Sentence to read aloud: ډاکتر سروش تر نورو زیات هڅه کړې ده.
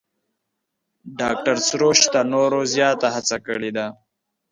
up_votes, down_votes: 0, 2